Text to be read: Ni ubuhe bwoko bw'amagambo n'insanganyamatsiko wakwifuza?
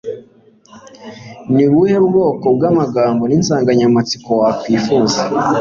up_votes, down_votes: 2, 0